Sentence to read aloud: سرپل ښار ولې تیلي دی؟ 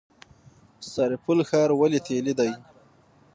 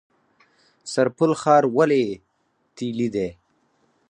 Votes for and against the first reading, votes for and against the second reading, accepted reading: 6, 0, 2, 4, first